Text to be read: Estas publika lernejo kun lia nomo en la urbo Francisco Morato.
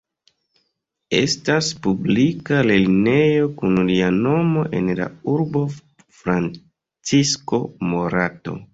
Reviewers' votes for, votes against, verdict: 2, 0, accepted